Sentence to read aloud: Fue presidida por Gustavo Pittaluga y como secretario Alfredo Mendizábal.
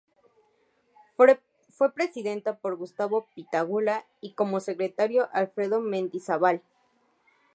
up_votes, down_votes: 0, 2